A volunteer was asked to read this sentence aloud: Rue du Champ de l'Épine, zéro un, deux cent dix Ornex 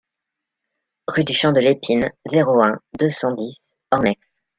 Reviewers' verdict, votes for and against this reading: accepted, 2, 0